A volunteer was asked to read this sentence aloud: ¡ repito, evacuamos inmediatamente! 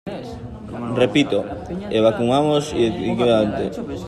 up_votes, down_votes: 0, 2